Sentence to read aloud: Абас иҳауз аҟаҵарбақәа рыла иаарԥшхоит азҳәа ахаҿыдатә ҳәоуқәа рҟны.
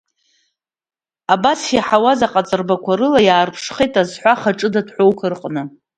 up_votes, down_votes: 1, 2